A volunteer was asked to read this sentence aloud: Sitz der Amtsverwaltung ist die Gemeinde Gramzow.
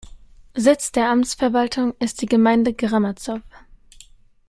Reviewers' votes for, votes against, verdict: 1, 3, rejected